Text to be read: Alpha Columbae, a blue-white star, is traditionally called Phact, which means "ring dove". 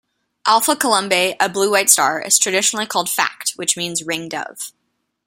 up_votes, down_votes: 2, 0